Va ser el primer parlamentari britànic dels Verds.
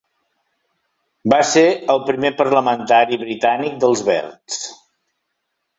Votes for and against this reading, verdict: 3, 0, accepted